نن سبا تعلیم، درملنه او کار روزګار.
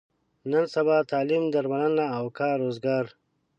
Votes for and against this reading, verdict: 2, 0, accepted